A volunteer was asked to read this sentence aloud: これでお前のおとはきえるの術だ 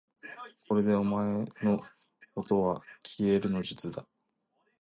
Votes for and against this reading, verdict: 1, 2, rejected